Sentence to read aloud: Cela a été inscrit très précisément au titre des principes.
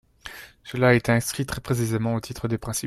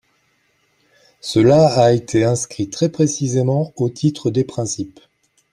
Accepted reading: second